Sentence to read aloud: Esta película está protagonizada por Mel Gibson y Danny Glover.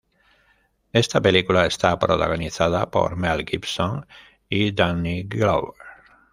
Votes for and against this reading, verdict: 1, 2, rejected